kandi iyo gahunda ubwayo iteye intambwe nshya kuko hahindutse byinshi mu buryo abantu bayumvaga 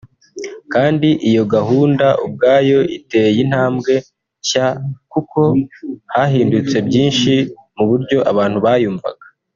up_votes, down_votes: 2, 0